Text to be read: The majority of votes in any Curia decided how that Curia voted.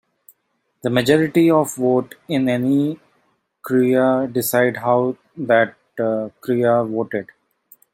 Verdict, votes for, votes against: rejected, 1, 2